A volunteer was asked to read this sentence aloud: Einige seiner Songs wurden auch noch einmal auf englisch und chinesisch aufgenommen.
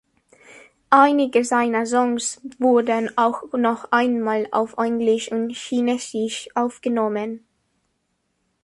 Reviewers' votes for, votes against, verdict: 1, 2, rejected